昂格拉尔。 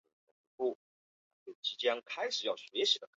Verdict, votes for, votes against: rejected, 1, 3